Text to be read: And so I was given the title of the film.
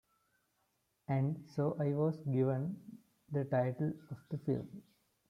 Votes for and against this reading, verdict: 0, 2, rejected